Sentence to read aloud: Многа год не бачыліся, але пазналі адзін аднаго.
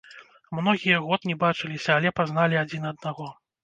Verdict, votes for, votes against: rejected, 0, 2